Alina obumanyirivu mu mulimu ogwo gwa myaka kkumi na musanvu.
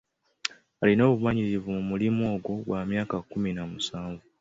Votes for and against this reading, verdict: 2, 0, accepted